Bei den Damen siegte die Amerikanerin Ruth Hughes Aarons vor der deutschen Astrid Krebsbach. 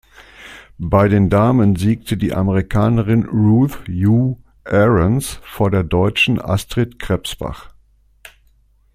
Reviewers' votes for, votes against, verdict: 2, 0, accepted